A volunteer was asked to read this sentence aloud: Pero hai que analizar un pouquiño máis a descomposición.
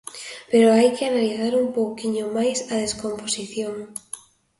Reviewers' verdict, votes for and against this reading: accepted, 2, 0